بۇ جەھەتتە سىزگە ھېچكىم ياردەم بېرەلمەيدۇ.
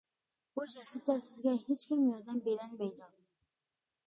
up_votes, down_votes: 1, 2